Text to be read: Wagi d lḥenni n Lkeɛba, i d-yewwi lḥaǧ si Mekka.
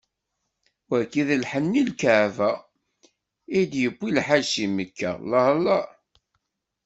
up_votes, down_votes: 1, 2